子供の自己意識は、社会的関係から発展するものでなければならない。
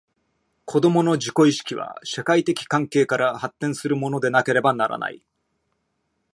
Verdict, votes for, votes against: accepted, 2, 0